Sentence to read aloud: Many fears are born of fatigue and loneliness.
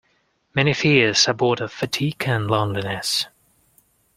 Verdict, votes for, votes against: rejected, 0, 2